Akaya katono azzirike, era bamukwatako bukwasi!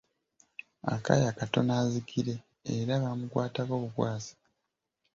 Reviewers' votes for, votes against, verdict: 1, 2, rejected